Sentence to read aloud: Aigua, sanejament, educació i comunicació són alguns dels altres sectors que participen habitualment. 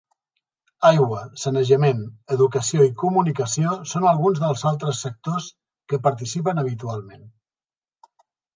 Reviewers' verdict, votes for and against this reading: accepted, 2, 0